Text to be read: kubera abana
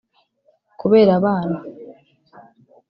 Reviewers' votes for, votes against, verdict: 2, 0, accepted